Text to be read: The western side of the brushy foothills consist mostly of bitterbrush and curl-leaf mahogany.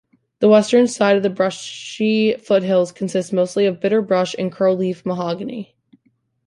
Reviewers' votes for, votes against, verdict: 1, 2, rejected